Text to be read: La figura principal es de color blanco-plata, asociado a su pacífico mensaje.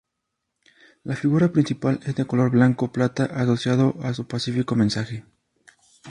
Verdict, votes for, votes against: rejected, 0, 2